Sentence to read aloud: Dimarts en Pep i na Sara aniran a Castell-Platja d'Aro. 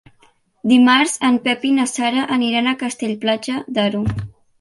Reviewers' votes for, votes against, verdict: 3, 0, accepted